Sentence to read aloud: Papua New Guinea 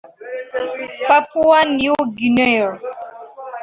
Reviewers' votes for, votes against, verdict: 1, 2, rejected